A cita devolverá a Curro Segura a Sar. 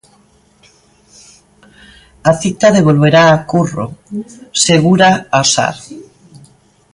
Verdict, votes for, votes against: rejected, 1, 2